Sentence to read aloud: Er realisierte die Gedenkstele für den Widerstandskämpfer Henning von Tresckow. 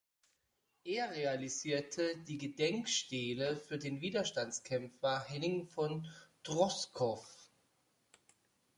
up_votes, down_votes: 0, 2